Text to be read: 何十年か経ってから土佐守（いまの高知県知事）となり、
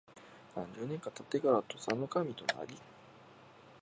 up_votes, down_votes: 0, 2